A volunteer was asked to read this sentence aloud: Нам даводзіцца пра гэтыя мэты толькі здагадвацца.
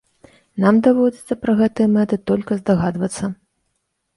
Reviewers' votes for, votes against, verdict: 0, 2, rejected